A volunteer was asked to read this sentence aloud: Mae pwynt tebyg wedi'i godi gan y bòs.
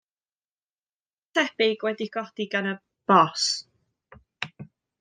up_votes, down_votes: 0, 2